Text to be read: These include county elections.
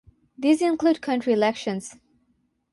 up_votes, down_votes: 3, 6